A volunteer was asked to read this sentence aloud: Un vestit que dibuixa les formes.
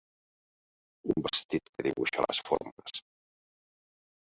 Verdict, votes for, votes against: rejected, 0, 2